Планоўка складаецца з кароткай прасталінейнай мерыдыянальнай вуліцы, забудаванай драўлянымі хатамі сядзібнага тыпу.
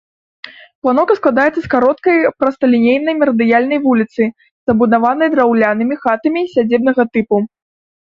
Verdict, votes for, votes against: rejected, 0, 2